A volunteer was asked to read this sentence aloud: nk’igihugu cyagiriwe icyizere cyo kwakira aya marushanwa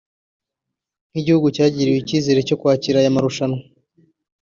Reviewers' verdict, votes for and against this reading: accepted, 2, 0